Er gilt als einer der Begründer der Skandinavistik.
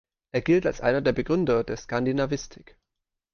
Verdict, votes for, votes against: accepted, 2, 0